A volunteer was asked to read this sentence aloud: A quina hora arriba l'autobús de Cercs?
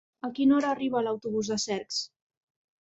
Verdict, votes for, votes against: accepted, 2, 1